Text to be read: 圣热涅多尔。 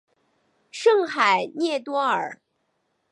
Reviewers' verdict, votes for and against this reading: rejected, 1, 2